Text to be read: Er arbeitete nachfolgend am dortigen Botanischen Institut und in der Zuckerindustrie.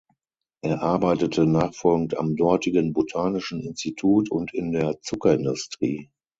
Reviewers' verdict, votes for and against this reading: accepted, 6, 0